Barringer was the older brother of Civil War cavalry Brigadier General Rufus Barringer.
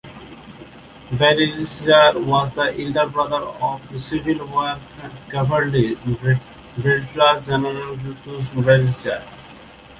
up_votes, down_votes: 0, 2